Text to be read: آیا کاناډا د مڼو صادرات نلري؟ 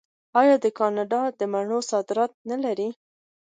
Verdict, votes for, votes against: accepted, 2, 0